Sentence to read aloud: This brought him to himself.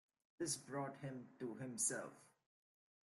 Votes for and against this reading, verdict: 3, 0, accepted